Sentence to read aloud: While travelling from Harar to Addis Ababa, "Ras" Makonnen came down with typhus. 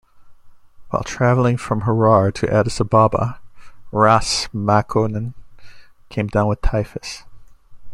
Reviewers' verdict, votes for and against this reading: accepted, 2, 0